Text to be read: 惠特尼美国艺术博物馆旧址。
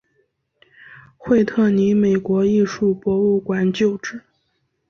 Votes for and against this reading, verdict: 3, 0, accepted